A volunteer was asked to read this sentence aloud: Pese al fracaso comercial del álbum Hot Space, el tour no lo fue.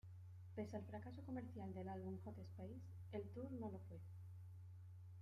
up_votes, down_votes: 1, 2